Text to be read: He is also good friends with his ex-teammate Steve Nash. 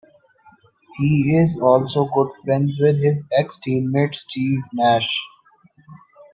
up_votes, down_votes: 2, 1